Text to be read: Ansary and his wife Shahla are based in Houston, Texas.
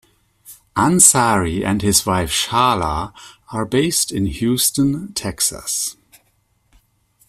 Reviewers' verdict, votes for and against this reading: accepted, 2, 0